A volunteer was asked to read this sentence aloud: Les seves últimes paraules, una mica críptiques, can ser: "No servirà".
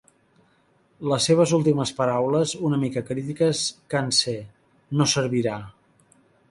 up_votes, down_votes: 0, 2